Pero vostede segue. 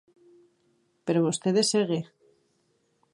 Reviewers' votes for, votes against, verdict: 2, 0, accepted